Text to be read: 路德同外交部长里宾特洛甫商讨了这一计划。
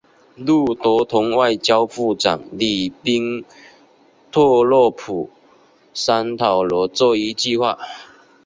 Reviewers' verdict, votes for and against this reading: accepted, 2, 0